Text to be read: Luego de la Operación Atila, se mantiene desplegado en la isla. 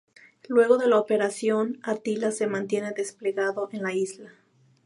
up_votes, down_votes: 2, 0